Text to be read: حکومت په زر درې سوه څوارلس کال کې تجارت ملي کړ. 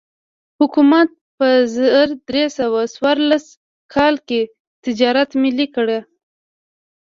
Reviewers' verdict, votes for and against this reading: accepted, 3, 0